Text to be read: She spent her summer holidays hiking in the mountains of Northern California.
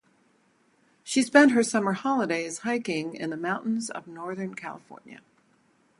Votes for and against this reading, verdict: 0, 2, rejected